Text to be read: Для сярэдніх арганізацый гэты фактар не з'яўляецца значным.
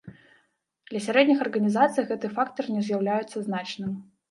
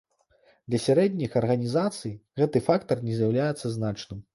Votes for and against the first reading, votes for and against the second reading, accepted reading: 0, 2, 2, 0, second